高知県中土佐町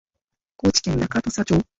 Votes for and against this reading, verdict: 0, 2, rejected